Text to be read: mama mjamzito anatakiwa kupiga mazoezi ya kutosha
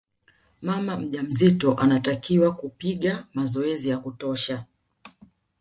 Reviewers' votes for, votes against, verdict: 2, 0, accepted